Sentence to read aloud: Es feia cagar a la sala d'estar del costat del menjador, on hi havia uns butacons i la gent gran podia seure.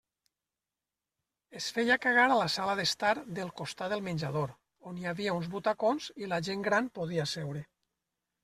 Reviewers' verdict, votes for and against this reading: accepted, 3, 0